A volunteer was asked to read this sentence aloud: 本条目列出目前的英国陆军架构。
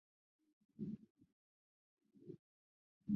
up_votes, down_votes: 0, 2